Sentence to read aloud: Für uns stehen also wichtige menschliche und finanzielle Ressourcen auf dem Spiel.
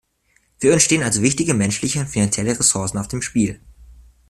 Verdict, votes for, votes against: accepted, 2, 0